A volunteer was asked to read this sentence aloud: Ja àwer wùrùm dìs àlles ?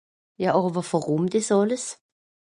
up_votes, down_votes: 2, 0